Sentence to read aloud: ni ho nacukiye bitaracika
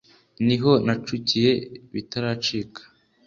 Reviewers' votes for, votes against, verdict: 2, 0, accepted